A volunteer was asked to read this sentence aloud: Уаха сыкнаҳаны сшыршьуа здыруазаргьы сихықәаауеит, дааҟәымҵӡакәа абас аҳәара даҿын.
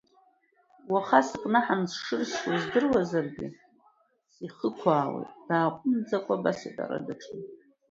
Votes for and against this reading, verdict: 1, 2, rejected